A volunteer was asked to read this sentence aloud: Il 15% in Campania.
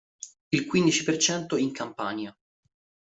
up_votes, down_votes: 0, 2